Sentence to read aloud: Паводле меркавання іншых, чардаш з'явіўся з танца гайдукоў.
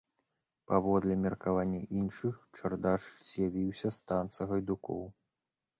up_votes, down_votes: 2, 0